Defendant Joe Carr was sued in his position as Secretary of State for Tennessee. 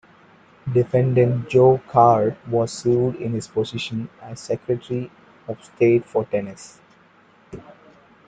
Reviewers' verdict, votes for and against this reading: rejected, 0, 2